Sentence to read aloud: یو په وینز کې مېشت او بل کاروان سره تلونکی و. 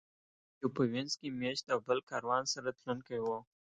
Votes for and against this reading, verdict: 1, 2, rejected